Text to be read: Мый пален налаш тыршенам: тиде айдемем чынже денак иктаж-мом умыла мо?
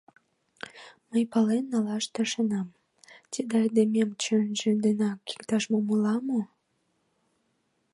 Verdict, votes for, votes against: rejected, 1, 2